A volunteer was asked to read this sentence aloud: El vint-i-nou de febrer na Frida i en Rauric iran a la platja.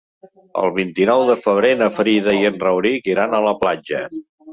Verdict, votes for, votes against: accepted, 6, 0